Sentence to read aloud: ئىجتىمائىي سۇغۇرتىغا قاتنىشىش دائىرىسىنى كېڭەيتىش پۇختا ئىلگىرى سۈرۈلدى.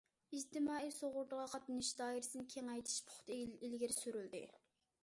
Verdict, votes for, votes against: rejected, 1, 2